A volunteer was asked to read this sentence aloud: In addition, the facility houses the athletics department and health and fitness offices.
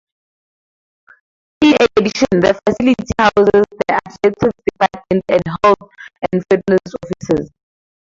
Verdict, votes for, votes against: rejected, 0, 2